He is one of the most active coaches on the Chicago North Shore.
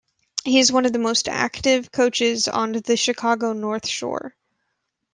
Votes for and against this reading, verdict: 2, 0, accepted